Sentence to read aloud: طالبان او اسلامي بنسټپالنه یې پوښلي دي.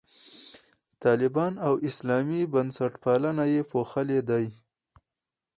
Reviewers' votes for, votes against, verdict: 2, 2, rejected